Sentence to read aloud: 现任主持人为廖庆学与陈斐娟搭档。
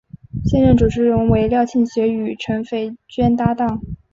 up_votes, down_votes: 2, 0